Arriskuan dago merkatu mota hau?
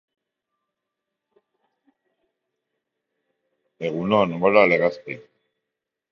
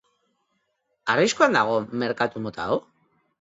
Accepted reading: second